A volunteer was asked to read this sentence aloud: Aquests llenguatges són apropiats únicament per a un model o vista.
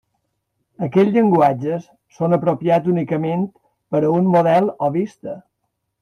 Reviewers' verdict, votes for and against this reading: accepted, 2, 0